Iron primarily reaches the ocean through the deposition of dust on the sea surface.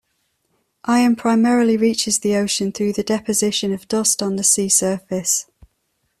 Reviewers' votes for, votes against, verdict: 2, 0, accepted